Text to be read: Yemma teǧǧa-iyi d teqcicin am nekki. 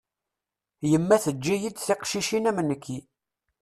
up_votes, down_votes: 1, 2